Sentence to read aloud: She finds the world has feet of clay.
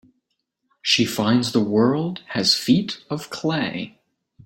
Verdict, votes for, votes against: accepted, 3, 0